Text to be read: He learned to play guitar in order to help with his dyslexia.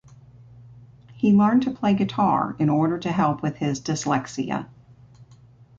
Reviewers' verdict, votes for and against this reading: accepted, 2, 0